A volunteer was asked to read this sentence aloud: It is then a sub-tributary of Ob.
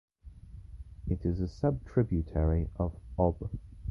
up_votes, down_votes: 1, 2